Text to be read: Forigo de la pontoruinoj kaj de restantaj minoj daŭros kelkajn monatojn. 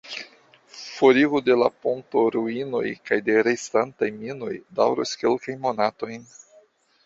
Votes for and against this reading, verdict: 0, 2, rejected